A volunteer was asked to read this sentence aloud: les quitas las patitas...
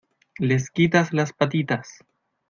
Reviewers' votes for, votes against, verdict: 2, 0, accepted